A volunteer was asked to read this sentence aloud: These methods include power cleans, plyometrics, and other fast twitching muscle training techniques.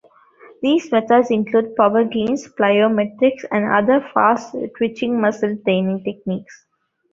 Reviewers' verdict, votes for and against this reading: accepted, 2, 0